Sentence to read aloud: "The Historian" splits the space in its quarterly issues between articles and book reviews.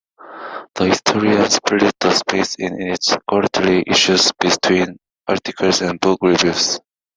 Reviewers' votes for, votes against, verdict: 1, 2, rejected